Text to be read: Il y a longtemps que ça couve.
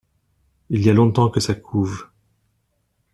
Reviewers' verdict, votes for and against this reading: accepted, 2, 0